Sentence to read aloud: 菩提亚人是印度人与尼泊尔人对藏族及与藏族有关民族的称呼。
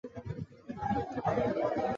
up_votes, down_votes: 1, 8